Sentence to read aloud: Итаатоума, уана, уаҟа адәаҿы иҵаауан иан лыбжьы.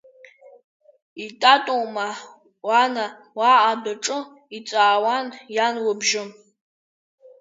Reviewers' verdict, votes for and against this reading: accepted, 3, 1